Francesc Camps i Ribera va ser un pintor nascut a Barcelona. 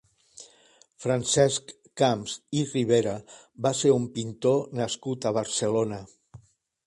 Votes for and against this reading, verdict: 1, 2, rejected